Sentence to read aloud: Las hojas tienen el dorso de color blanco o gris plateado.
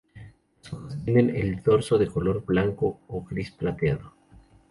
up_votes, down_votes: 0, 2